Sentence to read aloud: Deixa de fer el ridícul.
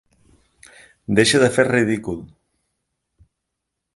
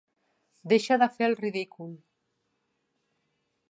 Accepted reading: second